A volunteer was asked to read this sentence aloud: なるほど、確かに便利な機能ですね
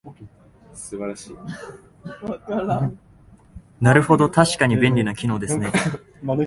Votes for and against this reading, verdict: 1, 2, rejected